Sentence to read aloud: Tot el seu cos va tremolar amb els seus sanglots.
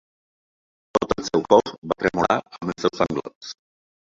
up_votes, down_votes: 0, 2